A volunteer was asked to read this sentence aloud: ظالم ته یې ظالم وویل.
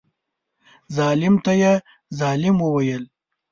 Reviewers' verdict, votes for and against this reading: accepted, 2, 0